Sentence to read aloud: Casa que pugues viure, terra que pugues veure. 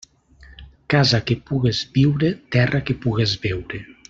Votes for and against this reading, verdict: 2, 0, accepted